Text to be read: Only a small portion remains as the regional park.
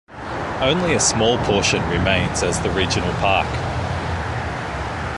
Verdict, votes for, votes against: accepted, 2, 0